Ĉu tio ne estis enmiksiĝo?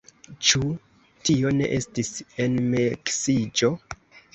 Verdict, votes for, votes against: rejected, 1, 2